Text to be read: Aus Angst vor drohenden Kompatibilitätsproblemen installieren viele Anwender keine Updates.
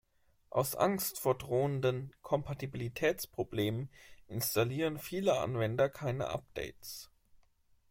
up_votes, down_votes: 2, 0